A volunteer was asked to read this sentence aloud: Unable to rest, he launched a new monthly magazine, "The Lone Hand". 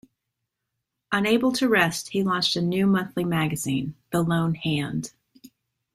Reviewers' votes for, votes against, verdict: 2, 0, accepted